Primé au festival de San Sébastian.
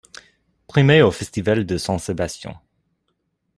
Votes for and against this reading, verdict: 2, 1, accepted